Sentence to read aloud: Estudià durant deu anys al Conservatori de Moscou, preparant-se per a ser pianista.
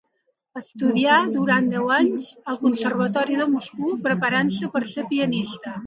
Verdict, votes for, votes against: rejected, 1, 2